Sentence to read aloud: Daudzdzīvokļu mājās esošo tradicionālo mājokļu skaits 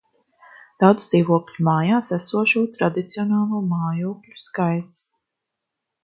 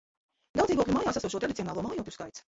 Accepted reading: first